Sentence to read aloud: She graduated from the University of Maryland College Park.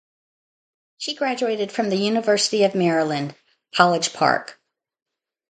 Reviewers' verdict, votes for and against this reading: accepted, 2, 0